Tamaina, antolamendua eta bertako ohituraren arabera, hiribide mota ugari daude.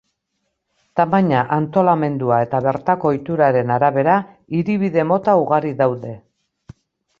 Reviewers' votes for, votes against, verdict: 2, 0, accepted